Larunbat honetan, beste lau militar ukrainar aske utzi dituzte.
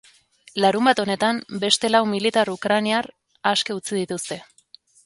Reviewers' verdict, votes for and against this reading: rejected, 1, 2